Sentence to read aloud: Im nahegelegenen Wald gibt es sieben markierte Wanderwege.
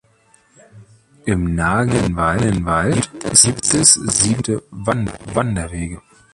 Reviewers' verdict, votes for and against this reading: rejected, 0, 2